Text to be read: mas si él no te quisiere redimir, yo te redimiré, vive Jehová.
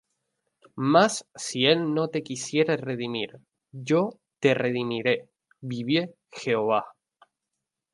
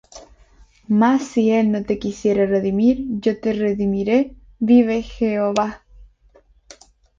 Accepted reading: second